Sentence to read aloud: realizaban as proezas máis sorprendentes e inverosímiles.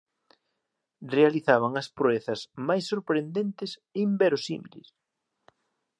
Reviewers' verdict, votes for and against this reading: accepted, 2, 0